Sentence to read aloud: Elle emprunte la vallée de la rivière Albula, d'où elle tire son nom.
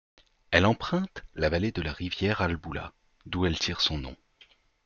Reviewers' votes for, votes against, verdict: 2, 0, accepted